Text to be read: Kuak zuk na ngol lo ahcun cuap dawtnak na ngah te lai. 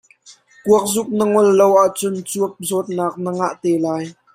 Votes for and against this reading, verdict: 2, 1, accepted